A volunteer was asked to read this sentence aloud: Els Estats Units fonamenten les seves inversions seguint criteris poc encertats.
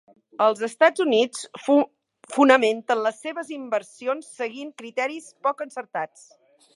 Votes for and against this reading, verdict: 0, 3, rejected